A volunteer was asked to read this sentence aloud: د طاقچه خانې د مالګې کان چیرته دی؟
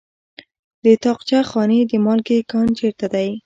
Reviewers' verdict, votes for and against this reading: rejected, 1, 2